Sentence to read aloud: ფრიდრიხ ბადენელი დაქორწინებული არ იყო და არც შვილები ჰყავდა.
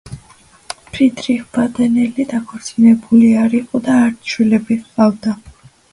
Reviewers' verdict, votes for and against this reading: accepted, 2, 1